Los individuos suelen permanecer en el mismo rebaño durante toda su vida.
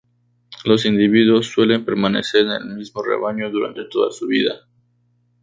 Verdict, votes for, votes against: accepted, 2, 0